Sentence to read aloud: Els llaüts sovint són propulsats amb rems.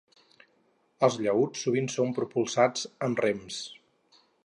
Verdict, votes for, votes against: accepted, 4, 0